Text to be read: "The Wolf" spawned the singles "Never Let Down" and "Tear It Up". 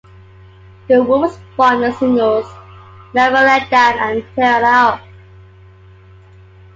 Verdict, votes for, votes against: accepted, 2, 0